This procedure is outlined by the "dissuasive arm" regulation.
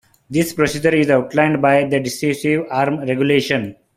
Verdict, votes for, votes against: rejected, 1, 3